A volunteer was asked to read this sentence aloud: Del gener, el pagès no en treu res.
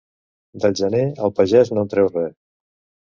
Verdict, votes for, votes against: accepted, 2, 0